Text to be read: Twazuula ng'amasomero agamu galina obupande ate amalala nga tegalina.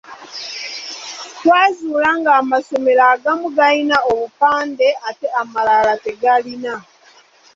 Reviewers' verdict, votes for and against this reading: rejected, 1, 2